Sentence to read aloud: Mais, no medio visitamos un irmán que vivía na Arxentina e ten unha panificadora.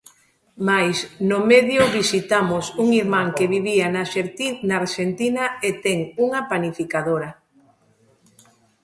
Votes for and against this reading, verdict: 0, 2, rejected